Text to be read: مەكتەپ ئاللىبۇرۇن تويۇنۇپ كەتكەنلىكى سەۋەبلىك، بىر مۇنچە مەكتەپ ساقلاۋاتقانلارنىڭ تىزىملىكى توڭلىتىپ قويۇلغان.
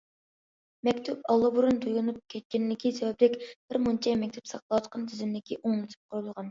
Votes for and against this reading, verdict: 0, 2, rejected